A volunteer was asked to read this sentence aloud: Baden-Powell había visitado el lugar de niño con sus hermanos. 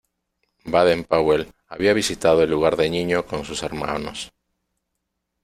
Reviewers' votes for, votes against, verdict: 2, 0, accepted